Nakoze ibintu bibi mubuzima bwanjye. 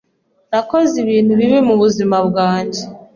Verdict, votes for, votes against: accepted, 2, 0